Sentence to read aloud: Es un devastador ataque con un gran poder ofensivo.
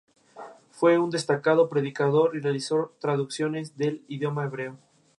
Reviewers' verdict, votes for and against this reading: rejected, 0, 2